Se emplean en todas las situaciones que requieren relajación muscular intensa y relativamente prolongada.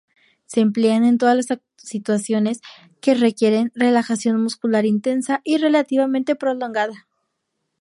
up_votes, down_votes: 0, 2